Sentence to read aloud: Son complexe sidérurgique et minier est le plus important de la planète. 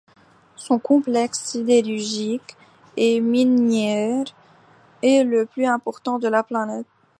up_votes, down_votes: 1, 2